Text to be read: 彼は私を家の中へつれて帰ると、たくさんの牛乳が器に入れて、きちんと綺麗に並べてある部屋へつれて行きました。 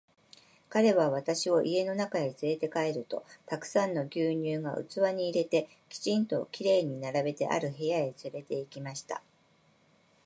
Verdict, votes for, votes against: accepted, 2, 0